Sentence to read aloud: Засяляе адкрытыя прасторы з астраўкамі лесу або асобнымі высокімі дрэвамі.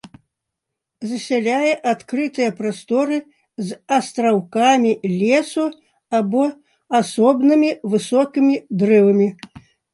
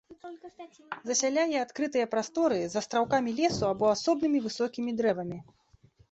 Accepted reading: first